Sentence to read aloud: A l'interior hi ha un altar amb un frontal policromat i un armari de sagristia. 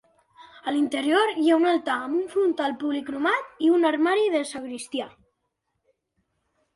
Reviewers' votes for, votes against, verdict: 2, 0, accepted